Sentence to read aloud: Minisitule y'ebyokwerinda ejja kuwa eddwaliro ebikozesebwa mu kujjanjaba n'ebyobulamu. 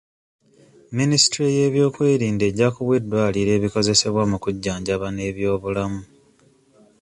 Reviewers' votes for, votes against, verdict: 2, 0, accepted